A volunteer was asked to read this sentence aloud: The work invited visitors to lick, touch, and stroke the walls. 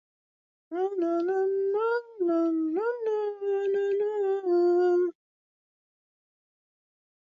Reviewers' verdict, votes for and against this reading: rejected, 0, 2